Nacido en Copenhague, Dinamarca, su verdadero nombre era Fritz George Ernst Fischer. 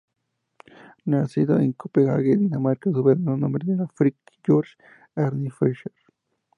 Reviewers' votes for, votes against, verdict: 0, 4, rejected